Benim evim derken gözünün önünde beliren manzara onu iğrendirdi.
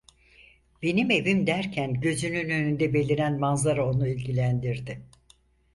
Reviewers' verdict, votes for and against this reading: rejected, 0, 4